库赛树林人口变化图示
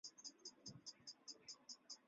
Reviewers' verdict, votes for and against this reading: rejected, 3, 3